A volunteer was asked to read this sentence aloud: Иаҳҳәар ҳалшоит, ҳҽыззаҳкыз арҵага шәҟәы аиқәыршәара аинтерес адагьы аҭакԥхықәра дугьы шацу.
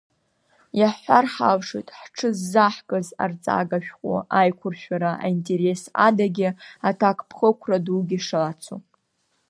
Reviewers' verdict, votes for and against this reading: accepted, 2, 0